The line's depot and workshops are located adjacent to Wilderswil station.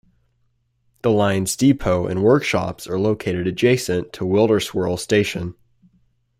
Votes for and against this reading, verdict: 2, 0, accepted